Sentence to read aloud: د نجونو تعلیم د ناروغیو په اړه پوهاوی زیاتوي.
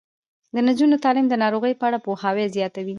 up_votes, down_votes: 2, 0